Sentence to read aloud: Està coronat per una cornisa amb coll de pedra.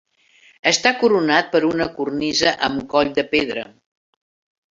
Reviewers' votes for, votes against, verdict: 3, 0, accepted